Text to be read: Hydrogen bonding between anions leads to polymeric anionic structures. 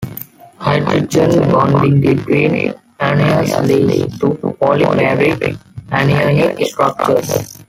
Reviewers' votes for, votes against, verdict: 1, 2, rejected